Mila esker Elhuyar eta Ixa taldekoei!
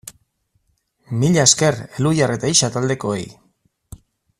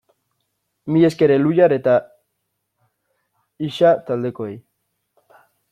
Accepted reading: first